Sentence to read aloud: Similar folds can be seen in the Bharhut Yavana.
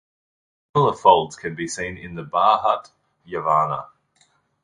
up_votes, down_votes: 0, 2